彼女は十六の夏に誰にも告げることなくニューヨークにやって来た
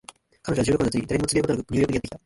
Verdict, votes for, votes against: rejected, 1, 2